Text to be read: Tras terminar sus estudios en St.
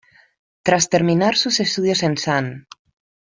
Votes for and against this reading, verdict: 1, 2, rejected